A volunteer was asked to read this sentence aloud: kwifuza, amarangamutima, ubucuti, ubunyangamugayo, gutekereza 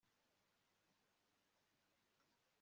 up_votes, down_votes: 3, 1